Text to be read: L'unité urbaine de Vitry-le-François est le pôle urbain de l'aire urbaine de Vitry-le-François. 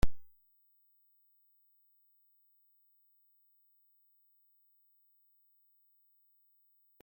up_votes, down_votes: 0, 2